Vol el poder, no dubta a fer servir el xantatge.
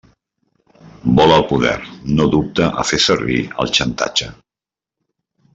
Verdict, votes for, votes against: accepted, 2, 0